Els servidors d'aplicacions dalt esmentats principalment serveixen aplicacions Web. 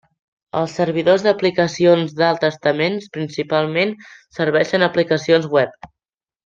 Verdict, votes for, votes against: rejected, 0, 2